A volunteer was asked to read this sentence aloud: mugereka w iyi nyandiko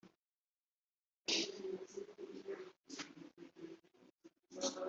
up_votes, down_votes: 1, 3